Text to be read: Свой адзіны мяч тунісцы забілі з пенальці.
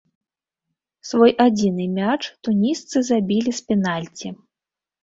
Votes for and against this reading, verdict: 3, 0, accepted